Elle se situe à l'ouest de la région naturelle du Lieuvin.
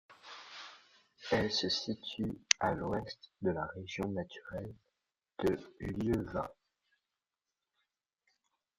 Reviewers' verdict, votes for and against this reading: rejected, 1, 2